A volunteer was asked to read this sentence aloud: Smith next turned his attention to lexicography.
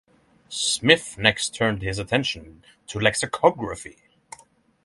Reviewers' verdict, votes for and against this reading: accepted, 3, 0